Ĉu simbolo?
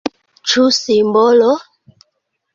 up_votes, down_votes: 2, 1